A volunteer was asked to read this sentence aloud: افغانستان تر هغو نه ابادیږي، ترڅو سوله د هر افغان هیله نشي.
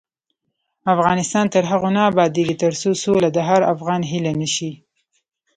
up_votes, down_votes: 0, 2